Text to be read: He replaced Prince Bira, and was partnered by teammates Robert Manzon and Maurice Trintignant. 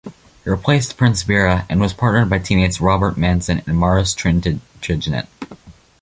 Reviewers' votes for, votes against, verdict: 1, 2, rejected